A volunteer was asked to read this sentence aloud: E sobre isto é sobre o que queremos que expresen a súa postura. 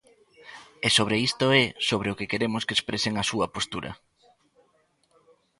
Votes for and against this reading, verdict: 1, 2, rejected